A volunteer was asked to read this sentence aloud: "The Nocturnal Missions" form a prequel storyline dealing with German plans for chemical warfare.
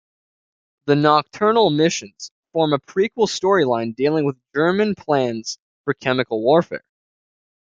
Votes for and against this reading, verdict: 2, 0, accepted